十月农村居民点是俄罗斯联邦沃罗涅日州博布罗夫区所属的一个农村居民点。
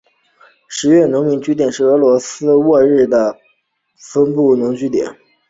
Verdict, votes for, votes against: rejected, 0, 2